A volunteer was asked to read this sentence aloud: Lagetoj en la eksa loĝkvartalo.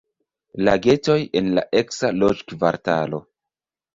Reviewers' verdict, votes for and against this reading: rejected, 1, 2